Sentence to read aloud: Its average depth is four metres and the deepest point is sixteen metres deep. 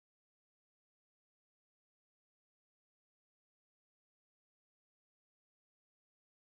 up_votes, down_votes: 0, 2